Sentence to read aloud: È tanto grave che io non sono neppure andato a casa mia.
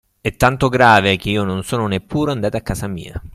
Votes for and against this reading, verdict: 3, 0, accepted